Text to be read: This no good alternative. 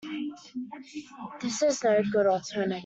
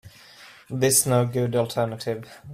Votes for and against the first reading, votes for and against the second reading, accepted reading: 0, 2, 2, 0, second